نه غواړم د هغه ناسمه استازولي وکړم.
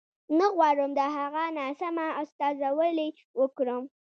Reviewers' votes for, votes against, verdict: 1, 2, rejected